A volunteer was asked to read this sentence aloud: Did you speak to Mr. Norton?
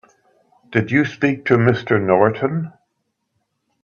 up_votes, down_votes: 3, 0